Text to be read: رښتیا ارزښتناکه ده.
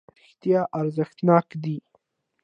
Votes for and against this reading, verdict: 2, 0, accepted